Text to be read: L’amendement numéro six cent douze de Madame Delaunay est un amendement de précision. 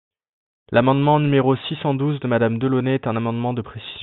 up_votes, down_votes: 1, 2